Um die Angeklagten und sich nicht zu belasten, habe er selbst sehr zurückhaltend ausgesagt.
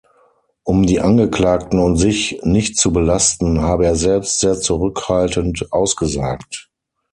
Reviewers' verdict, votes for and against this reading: accepted, 6, 0